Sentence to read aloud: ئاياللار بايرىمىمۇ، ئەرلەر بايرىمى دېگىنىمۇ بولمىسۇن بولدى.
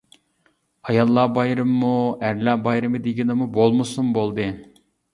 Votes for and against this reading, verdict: 2, 0, accepted